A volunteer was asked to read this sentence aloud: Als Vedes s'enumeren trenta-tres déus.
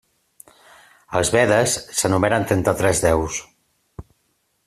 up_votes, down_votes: 3, 2